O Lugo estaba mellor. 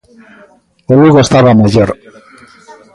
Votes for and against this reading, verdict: 1, 2, rejected